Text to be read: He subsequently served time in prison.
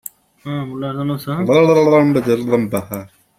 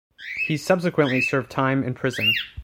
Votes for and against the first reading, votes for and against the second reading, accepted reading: 0, 2, 2, 0, second